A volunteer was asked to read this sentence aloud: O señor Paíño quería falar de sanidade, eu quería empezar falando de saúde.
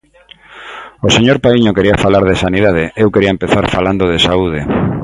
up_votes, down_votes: 2, 0